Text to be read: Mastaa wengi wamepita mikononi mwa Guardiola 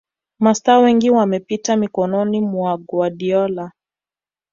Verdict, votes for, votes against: accepted, 2, 0